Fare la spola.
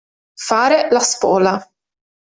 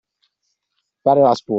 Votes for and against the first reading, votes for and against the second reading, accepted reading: 2, 0, 0, 2, first